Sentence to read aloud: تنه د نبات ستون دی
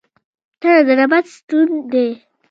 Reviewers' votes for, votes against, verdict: 0, 2, rejected